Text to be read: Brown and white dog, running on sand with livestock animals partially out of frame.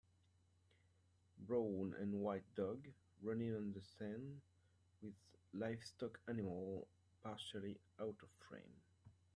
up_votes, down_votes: 1, 2